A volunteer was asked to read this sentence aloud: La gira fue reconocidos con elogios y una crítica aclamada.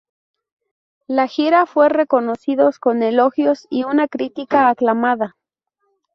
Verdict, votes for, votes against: rejected, 0, 2